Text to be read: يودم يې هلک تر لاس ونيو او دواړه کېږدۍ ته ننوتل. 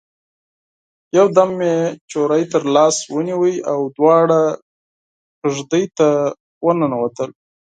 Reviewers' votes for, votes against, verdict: 2, 4, rejected